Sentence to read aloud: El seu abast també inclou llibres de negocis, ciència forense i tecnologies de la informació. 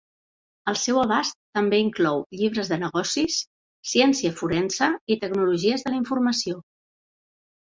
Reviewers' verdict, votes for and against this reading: accepted, 2, 0